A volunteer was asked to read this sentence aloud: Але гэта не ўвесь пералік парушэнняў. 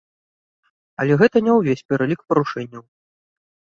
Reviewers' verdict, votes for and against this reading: accepted, 2, 0